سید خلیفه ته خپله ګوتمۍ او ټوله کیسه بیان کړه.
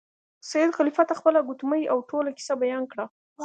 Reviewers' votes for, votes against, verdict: 3, 0, accepted